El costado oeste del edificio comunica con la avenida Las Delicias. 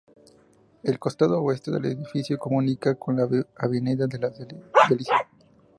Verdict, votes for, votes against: accepted, 2, 0